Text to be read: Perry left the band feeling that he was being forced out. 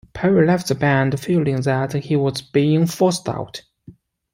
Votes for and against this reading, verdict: 2, 1, accepted